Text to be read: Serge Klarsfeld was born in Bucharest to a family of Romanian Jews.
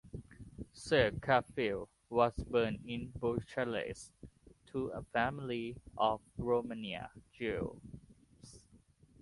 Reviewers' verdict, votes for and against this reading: rejected, 1, 2